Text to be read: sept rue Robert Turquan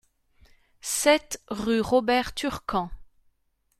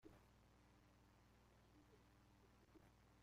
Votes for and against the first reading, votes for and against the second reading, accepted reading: 2, 0, 0, 2, first